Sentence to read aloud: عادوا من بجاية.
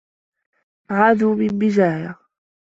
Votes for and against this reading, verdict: 2, 1, accepted